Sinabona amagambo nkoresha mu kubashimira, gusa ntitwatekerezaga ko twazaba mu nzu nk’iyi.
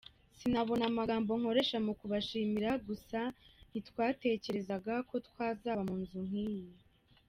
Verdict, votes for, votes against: accepted, 2, 0